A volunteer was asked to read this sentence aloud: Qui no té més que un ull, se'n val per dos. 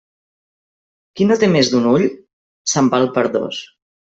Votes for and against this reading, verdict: 0, 2, rejected